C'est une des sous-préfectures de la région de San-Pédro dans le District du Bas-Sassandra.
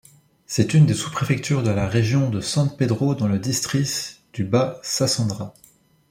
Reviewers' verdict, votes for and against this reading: rejected, 0, 2